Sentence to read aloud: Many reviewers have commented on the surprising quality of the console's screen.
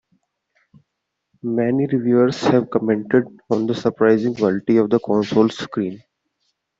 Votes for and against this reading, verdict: 0, 2, rejected